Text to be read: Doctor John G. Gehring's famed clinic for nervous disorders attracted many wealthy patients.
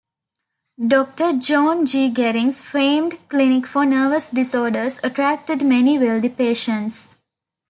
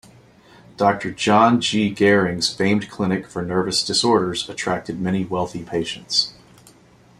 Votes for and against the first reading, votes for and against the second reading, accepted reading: 0, 2, 2, 0, second